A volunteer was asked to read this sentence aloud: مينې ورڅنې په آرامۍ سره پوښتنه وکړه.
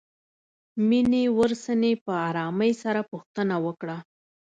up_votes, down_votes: 2, 0